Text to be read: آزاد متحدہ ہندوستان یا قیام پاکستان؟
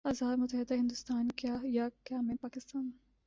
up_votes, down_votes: 1, 2